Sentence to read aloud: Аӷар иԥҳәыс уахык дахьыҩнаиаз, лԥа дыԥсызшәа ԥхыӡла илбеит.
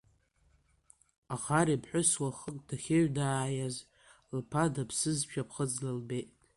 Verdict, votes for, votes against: accepted, 2, 0